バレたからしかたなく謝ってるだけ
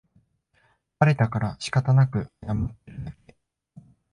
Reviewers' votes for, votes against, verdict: 0, 2, rejected